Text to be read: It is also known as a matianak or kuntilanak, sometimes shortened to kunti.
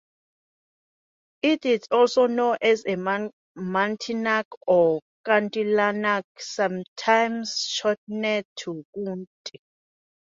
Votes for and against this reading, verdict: 0, 2, rejected